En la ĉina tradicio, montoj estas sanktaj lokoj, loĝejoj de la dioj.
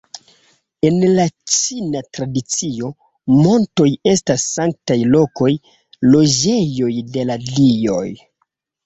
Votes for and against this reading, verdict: 2, 0, accepted